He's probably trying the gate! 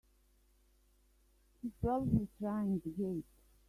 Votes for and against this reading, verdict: 0, 2, rejected